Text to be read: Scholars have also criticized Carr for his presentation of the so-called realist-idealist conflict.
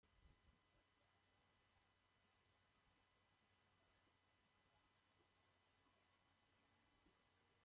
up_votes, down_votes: 0, 2